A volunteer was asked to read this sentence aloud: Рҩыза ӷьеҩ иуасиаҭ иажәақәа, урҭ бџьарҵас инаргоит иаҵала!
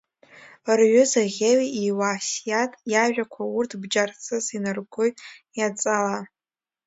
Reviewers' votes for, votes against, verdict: 0, 2, rejected